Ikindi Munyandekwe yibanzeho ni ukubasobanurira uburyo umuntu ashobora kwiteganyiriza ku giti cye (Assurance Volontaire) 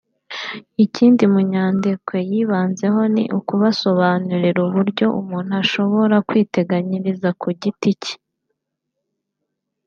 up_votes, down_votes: 0, 2